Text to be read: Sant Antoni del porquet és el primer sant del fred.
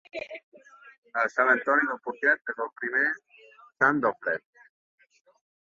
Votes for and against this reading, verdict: 1, 2, rejected